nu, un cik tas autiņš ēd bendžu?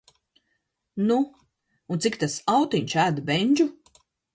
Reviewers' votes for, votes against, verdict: 2, 0, accepted